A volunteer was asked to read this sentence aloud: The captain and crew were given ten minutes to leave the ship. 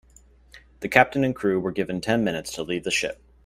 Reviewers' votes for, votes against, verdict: 2, 0, accepted